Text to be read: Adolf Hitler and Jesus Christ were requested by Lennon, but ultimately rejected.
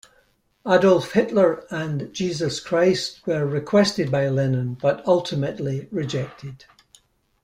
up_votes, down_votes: 2, 0